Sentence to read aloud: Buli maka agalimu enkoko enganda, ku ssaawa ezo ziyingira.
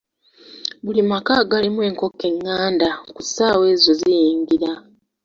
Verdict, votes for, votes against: accepted, 2, 0